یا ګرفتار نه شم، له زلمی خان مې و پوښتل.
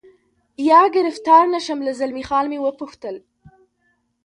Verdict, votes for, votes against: accepted, 2, 0